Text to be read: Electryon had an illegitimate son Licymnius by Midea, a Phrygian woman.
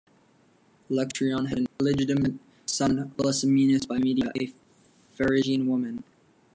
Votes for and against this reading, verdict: 1, 2, rejected